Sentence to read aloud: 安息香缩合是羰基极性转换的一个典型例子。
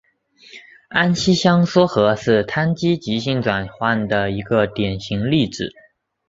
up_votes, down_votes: 3, 0